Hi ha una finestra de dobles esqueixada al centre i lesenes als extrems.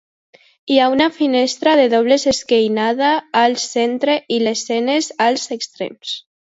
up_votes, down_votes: 0, 2